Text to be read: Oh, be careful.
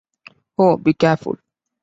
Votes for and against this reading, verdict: 3, 0, accepted